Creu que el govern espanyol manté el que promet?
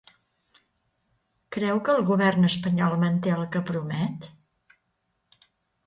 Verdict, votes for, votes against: accepted, 2, 0